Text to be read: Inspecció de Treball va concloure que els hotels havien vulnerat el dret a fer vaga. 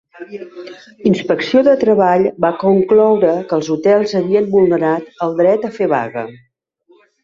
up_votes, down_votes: 2, 0